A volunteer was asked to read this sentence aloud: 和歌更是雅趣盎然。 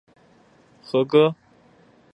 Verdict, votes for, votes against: rejected, 1, 4